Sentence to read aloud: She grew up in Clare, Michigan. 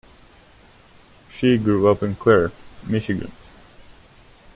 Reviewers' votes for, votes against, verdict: 2, 0, accepted